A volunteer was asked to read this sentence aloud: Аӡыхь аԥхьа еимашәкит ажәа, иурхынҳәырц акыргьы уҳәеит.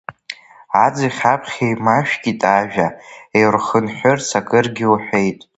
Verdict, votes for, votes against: rejected, 0, 2